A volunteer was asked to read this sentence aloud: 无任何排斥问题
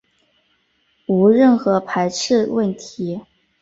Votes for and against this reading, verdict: 4, 0, accepted